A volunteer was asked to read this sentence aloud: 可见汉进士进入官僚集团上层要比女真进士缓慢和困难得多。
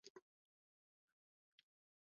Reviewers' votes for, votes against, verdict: 2, 4, rejected